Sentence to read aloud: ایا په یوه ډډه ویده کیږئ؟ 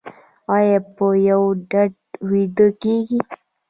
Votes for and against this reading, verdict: 0, 2, rejected